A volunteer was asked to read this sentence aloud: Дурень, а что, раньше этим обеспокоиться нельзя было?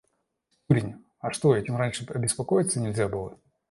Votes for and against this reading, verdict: 1, 2, rejected